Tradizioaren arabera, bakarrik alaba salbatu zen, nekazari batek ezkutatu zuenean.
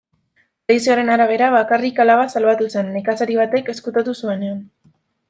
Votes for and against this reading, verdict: 0, 2, rejected